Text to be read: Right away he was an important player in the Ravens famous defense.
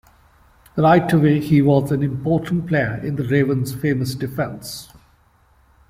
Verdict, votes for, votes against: accepted, 2, 1